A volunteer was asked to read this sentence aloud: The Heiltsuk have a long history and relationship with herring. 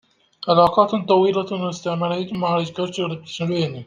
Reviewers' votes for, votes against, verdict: 0, 2, rejected